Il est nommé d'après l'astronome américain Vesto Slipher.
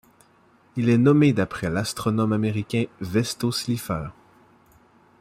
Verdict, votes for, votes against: accepted, 2, 0